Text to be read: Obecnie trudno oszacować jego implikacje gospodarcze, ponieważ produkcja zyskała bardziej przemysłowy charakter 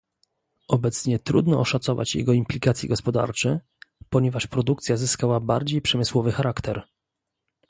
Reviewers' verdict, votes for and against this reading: accepted, 2, 0